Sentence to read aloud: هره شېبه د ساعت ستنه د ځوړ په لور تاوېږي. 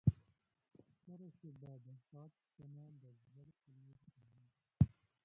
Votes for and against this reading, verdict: 1, 2, rejected